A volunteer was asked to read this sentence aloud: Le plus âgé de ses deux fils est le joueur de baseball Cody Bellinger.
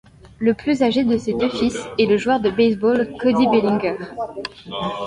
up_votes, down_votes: 2, 0